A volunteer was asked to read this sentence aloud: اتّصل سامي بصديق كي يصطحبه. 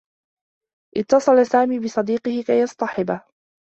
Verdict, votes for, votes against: rejected, 0, 2